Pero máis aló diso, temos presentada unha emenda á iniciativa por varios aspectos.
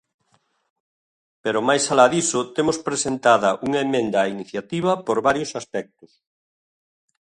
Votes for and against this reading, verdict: 1, 2, rejected